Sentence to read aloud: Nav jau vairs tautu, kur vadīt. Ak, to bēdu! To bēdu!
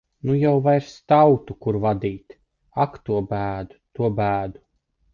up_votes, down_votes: 1, 2